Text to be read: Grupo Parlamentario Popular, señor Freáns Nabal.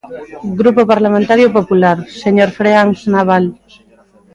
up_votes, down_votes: 0, 2